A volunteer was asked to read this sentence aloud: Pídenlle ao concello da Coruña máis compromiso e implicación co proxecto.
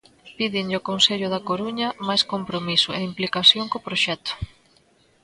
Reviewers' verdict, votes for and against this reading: accepted, 2, 0